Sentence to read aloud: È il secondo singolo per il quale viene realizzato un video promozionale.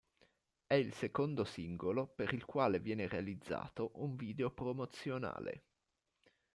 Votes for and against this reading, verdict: 0, 2, rejected